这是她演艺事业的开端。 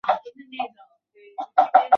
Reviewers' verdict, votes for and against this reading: rejected, 0, 5